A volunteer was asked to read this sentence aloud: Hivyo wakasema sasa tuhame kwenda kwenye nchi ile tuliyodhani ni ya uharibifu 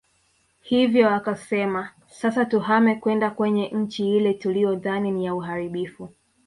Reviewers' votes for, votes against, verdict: 2, 1, accepted